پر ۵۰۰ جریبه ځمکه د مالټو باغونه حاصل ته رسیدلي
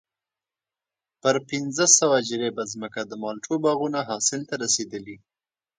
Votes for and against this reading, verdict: 0, 2, rejected